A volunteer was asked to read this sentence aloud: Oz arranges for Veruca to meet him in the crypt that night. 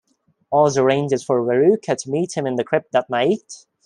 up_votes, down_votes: 2, 0